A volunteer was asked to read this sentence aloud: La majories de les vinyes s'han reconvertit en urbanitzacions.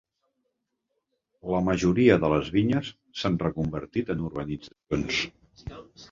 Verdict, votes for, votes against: rejected, 0, 2